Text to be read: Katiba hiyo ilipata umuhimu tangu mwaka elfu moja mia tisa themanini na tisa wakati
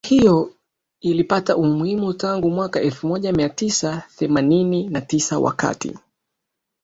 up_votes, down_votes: 1, 3